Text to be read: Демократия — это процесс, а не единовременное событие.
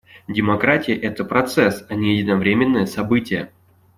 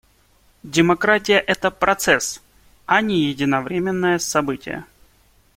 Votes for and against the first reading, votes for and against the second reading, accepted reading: 1, 2, 2, 0, second